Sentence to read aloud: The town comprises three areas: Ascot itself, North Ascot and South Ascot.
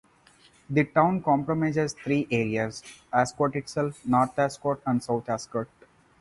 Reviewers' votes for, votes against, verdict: 0, 4, rejected